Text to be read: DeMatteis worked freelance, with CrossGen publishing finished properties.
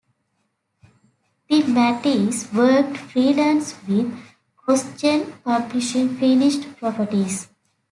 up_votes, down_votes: 2, 0